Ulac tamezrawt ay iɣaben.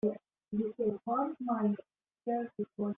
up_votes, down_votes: 0, 2